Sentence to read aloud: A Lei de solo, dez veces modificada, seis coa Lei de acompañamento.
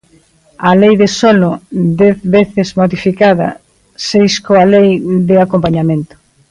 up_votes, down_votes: 2, 0